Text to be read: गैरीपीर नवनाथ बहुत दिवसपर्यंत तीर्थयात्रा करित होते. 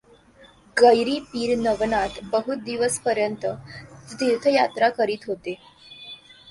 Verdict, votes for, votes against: rejected, 1, 2